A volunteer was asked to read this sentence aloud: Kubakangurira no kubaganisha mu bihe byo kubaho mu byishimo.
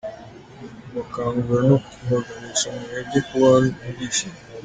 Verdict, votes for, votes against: rejected, 1, 2